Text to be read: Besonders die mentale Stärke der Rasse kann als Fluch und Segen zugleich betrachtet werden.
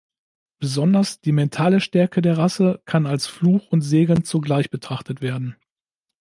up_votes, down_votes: 2, 0